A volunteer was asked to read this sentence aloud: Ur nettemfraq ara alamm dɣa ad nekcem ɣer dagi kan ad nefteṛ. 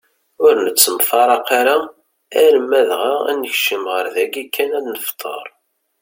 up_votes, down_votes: 2, 0